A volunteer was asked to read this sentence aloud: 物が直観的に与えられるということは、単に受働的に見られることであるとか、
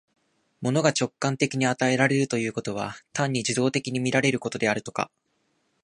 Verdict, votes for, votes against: accepted, 2, 0